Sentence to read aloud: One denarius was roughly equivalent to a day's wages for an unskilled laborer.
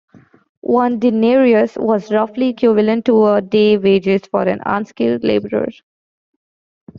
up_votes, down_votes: 2, 1